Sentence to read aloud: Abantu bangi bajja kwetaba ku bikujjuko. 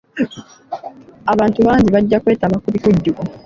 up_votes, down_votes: 2, 0